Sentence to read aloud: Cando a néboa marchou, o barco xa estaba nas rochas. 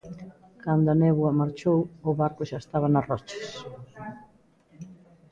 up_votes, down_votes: 2, 0